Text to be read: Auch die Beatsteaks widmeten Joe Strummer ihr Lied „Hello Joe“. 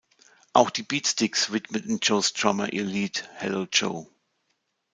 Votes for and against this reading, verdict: 2, 0, accepted